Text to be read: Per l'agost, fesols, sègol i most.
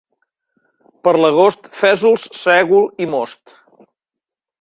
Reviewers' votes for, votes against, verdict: 2, 0, accepted